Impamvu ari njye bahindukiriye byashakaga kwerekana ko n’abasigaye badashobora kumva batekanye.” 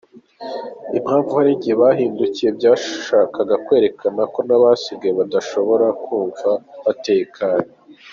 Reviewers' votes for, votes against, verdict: 2, 0, accepted